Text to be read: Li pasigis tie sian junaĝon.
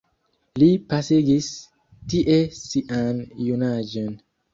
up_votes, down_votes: 1, 2